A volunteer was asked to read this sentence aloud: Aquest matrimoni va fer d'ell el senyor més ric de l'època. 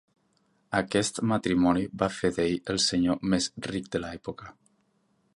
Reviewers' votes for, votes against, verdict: 1, 2, rejected